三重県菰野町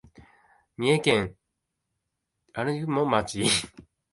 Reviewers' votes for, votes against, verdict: 0, 2, rejected